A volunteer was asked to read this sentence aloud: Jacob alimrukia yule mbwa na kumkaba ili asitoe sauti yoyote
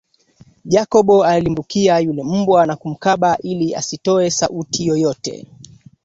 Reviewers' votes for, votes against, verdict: 1, 2, rejected